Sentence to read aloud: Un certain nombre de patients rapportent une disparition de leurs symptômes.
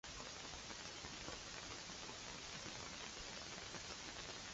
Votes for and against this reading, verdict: 0, 2, rejected